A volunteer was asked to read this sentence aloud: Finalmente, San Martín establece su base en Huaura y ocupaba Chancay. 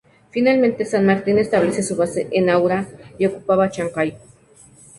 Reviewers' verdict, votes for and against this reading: accepted, 2, 0